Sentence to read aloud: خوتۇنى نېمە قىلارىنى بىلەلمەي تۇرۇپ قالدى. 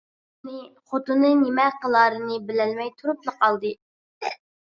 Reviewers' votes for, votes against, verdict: 0, 2, rejected